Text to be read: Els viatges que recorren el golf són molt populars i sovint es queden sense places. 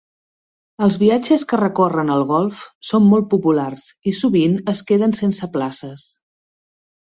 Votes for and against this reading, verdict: 3, 0, accepted